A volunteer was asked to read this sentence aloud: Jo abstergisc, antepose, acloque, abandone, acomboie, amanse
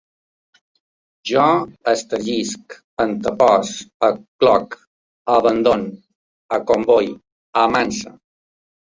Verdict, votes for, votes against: rejected, 1, 2